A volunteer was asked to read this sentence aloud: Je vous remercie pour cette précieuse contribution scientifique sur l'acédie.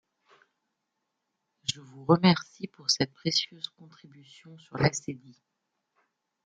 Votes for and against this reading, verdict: 0, 2, rejected